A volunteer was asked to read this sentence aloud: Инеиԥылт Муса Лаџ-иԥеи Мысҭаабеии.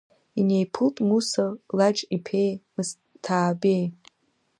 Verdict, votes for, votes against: accepted, 2, 0